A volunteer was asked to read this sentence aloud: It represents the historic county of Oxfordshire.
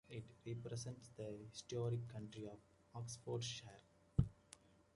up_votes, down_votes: 1, 2